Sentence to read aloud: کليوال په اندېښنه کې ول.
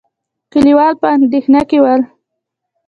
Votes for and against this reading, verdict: 1, 2, rejected